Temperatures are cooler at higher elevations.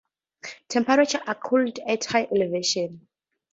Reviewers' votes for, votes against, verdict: 2, 0, accepted